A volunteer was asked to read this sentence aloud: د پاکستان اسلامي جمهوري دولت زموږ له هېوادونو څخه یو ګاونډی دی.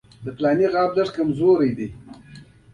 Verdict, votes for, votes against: accepted, 2, 0